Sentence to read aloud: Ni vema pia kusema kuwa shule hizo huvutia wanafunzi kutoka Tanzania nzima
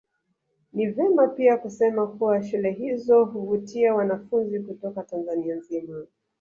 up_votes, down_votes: 0, 2